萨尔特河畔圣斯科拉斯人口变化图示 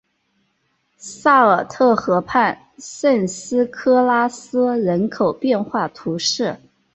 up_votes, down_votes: 0, 2